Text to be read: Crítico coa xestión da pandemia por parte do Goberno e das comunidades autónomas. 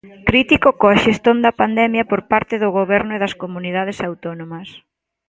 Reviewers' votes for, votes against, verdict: 0, 2, rejected